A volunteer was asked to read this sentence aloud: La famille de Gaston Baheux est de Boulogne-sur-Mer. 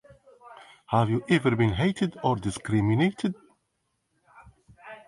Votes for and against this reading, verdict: 1, 2, rejected